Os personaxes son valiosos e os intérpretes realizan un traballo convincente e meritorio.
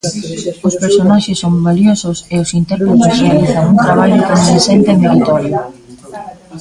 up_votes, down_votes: 0, 3